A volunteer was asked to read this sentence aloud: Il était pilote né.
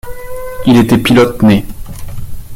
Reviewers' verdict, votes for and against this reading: accepted, 2, 0